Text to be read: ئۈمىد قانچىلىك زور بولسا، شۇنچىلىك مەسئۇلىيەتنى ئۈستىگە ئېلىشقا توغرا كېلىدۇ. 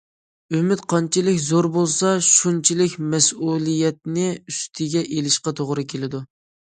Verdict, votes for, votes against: accepted, 2, 0